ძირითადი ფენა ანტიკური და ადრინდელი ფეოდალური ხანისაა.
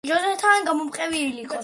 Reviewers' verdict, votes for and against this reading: rejected, 0, 2